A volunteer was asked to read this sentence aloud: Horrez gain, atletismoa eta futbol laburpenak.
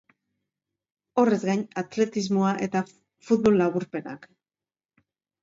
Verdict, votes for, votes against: rejected, 1, 2